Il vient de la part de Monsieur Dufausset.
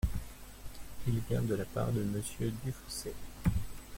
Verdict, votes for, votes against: rejected, 0, 2